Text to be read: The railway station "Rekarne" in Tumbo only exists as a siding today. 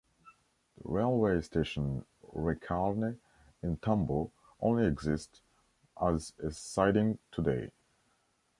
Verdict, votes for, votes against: accepted, 2, 1